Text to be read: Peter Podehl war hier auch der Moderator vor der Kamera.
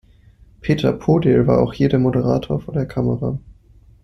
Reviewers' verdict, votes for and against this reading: rejected, 1, 2